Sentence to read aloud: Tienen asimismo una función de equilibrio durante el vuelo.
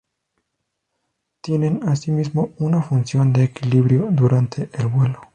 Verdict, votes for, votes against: accepted, 4, 0